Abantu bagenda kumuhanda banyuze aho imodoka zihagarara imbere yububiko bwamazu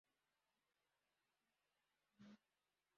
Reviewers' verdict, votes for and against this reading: rejected, 0, 2